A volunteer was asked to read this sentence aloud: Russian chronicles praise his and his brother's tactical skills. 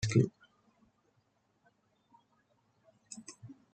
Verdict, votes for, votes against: rejected, 1, 2